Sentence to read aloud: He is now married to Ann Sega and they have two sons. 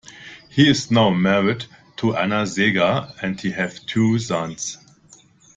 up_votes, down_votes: 2, 1